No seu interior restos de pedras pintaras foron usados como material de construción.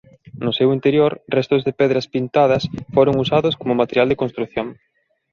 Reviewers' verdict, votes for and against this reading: rejected, 1, 2